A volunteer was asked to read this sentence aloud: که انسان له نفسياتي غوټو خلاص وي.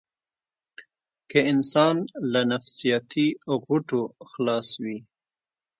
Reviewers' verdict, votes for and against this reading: accepted, 3, 0